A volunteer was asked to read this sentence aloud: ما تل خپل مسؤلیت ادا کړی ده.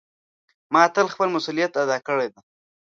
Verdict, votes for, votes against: accepted, 2, 0